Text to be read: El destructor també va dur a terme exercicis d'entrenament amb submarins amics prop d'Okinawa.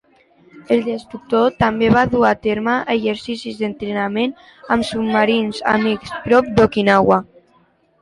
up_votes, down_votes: 2, 0